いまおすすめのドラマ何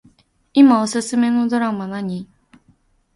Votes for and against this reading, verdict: 2, 0, accepted